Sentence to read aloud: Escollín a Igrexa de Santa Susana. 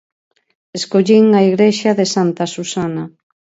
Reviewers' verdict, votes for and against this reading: accepted, 4, 0